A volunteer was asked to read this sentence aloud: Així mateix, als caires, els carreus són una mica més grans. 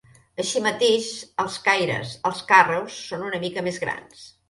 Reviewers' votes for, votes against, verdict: 1, 2, rejected